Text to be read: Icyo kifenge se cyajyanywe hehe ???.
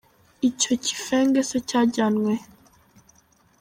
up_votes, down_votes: 1, 2